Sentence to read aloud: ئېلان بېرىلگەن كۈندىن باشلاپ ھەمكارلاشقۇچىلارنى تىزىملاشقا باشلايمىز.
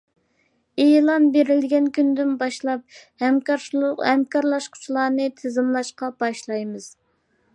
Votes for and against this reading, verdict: 0, 2, rejected